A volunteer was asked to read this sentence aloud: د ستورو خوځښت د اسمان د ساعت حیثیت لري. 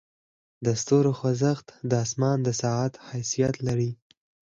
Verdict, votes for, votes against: accepted, 6, 0